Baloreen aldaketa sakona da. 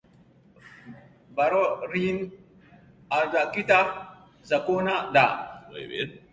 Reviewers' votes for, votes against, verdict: 0, 2, rejected